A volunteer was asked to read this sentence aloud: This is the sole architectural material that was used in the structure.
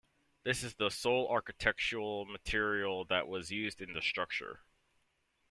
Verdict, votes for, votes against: accepted, 2, 0